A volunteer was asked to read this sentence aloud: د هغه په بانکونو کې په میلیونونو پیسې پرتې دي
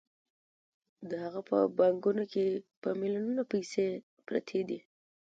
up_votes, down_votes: 2, 0